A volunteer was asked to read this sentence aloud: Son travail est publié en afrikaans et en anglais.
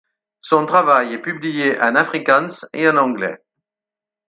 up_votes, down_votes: 4, 0